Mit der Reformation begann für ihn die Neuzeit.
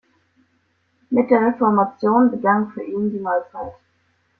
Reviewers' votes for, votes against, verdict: 2, 0, accepted